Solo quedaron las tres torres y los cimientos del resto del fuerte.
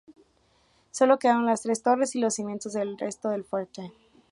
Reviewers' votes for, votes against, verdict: 3, 0, accepted